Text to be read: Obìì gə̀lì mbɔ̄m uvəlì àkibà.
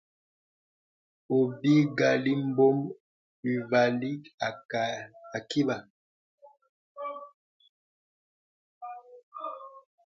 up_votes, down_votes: 0, 2